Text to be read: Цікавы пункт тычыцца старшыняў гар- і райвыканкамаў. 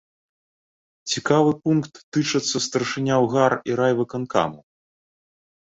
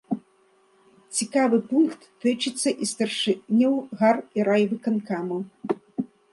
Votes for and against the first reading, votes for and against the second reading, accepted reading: 2, 1, 0, 2, first